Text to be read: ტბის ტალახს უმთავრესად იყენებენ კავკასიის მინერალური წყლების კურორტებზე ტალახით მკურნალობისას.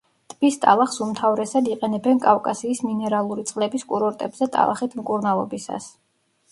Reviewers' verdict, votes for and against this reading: accepted, 2, 0